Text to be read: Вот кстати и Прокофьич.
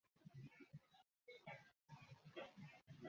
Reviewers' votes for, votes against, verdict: 0, 2, rejected